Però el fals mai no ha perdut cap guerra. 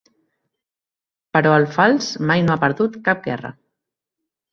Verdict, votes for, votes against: accepted, 3, 0